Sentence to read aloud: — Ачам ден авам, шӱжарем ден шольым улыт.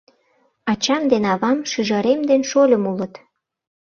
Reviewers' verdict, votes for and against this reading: accepted, 2, 0